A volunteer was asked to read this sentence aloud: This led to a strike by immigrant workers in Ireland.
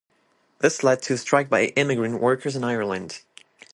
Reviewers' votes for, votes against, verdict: 3, 0, accepted